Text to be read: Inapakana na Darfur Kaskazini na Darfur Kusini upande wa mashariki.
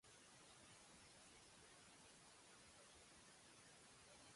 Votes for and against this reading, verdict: 1, 2, rejected